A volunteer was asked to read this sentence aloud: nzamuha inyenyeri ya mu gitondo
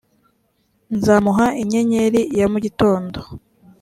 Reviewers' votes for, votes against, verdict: 3, 0, accepted